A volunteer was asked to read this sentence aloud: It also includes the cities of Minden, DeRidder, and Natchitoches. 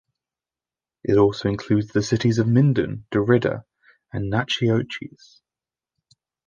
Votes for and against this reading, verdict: 1, 2, rejected